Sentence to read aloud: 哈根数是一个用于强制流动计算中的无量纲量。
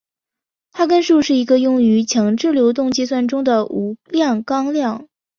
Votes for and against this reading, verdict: 2, 0, accepted